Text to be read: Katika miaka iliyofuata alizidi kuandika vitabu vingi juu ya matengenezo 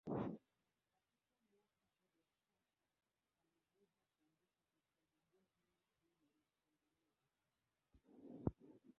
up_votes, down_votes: 0, 3